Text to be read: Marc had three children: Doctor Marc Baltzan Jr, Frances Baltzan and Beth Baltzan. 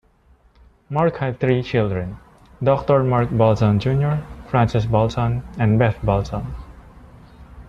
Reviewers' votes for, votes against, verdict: 2, 1, accepted